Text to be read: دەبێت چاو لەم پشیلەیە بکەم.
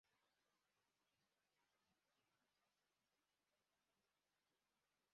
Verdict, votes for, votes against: rejected, 1, 2